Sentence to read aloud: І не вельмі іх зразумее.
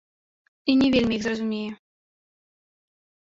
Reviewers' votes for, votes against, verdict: 2, 1, accepted